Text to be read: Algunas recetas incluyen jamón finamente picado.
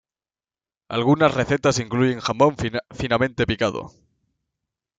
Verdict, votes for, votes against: rejected, 1, 2